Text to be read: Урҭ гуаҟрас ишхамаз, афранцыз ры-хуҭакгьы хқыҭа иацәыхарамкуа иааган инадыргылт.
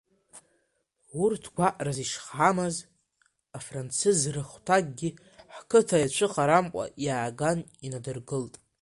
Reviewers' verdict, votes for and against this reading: rejected, 1, 2